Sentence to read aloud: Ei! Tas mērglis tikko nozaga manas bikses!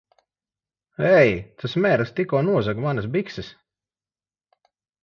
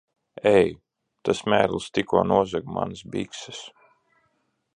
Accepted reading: first